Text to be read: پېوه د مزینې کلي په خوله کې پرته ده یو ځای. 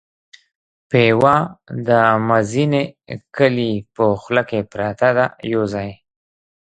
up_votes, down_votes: 2, 0